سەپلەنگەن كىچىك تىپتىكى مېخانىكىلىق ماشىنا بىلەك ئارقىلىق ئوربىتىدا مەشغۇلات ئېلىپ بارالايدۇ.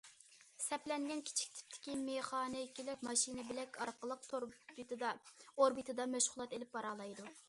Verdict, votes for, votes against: rejected, 0, 2